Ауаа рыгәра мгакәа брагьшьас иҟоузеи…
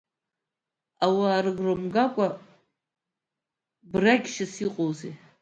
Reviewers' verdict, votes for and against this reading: accepted, 2, 0